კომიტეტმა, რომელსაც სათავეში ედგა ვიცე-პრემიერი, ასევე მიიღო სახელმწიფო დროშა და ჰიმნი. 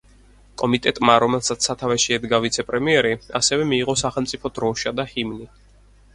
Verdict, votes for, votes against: accepted, 4, 0